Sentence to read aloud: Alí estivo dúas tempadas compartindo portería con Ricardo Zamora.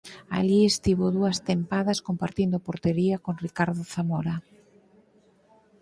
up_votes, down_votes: 4, 0